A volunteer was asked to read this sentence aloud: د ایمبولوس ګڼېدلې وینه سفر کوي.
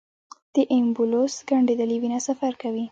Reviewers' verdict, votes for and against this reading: rejected, 1, 2